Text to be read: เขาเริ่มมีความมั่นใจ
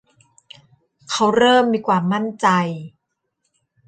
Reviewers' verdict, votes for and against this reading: rejected, 1, 2